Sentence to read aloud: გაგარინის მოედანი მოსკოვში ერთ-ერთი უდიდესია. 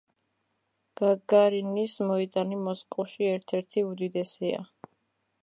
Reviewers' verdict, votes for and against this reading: accepted, 2, 0